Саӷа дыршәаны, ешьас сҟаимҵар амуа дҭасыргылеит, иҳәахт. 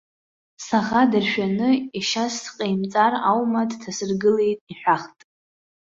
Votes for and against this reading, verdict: 0, 2, rejected